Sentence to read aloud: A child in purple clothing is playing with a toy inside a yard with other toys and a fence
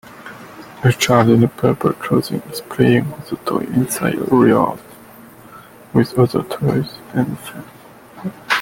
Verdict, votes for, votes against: rejected, 1, 2